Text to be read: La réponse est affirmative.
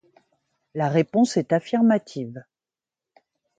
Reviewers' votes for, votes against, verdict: 2, 0, accepted